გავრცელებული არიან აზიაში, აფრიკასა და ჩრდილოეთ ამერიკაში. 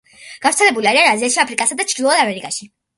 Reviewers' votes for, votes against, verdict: 2, 0, accepted